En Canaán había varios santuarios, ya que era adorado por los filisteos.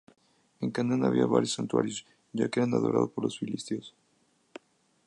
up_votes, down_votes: 0, 2